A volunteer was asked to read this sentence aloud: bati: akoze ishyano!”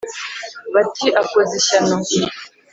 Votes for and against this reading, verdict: 3, 0, accepted